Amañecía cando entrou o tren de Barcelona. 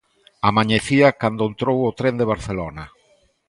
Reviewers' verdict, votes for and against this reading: accepted, 2, 0